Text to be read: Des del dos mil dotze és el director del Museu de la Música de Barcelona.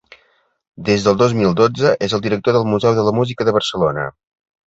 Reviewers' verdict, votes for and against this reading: accepted, 2, 0